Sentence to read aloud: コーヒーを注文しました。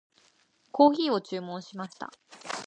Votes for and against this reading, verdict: 2, 0, accepted